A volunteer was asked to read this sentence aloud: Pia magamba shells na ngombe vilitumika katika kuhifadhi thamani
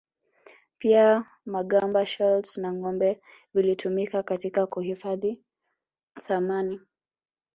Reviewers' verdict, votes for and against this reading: accepted, 3, 0